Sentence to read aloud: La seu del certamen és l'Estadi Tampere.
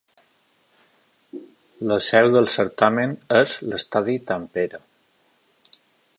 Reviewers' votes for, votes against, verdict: 2, 0, accepted